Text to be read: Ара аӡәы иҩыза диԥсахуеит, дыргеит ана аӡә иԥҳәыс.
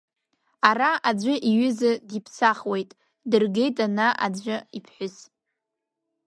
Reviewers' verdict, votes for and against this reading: rejected, 1, 2